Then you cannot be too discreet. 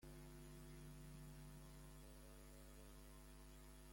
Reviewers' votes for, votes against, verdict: 0, 2, rejected